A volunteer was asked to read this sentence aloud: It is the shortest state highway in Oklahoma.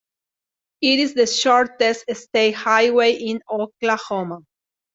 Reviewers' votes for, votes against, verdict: 2, 1, accepted